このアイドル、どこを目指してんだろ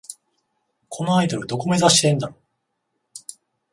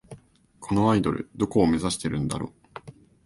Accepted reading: first